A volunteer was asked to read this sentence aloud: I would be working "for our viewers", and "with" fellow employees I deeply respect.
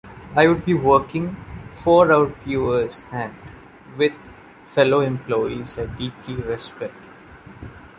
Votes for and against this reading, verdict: 2, 0, accepted